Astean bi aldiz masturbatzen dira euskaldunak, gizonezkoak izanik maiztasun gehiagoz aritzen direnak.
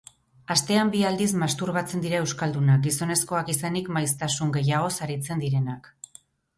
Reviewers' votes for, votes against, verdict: 4, 0, accepted